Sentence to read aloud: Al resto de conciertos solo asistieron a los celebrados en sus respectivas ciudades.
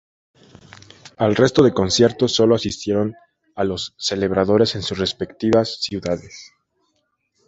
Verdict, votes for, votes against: rejected, 0, 2